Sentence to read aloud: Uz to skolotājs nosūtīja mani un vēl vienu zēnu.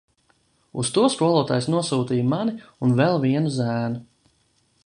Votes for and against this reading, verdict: 1, 2, rejected